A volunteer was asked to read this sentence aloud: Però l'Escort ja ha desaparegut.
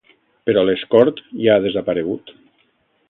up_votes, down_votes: 1, 2